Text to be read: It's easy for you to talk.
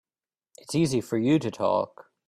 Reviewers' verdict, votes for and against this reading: accepted, 3, 0